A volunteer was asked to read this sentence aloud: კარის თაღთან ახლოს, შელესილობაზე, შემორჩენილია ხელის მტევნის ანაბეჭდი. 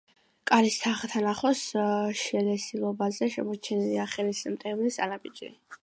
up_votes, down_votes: 1, 2